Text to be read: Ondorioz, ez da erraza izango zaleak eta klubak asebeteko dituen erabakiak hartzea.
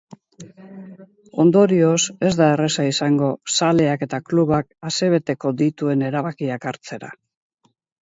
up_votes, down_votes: 2, 4